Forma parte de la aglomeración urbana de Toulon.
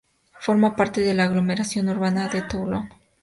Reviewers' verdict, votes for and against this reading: accepted, 2, 0